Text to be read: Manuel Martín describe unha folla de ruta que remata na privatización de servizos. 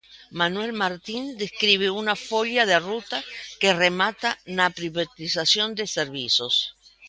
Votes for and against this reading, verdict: 1, 2, rejected